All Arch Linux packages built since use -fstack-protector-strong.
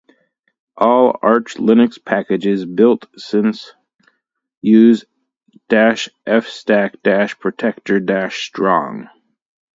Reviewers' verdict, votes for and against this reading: rejected, 2, 2